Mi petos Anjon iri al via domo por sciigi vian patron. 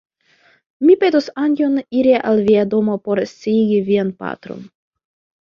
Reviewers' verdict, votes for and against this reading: rejected, 0, 2